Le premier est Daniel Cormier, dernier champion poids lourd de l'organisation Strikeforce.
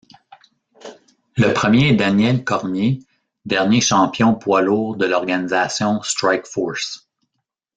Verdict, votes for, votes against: rejected, 1, 2